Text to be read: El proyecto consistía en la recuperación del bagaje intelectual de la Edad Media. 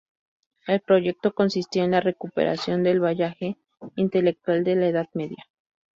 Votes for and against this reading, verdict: 0, 2, rejected